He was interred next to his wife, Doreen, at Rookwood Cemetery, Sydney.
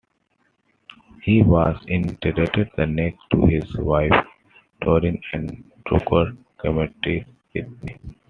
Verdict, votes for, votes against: rejected, 1, 2